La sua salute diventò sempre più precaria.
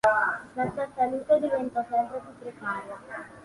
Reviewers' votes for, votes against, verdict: 2, 0, accepted